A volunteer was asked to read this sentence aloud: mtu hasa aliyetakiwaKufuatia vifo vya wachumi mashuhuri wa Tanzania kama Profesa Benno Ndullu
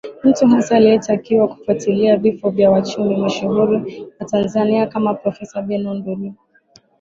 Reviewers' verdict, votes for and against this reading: rejected, 0, 2